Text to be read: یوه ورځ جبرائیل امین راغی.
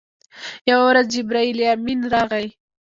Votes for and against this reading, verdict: 0, 2, rejected